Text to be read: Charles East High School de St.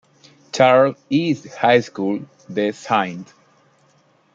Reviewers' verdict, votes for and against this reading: accepted, 2, 1